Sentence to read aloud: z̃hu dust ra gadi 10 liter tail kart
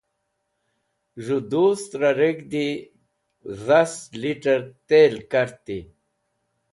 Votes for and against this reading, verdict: 0, 2, rejected